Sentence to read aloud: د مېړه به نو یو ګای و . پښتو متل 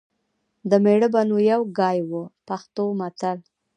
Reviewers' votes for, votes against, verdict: 1, 2, rejected